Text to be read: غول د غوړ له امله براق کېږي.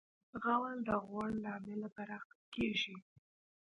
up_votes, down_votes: 2, 1